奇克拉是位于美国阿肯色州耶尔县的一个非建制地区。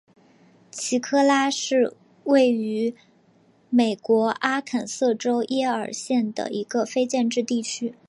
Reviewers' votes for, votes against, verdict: 4, 0, accepted